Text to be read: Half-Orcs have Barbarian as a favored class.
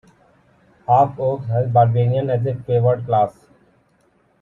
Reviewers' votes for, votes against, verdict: 0, 2, rejected